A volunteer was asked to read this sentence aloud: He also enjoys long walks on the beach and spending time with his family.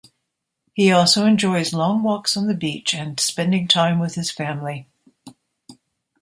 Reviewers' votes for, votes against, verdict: 3, 0, accepted